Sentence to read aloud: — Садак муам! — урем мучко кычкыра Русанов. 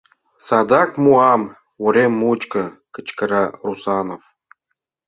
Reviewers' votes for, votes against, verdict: 2, 0, accepted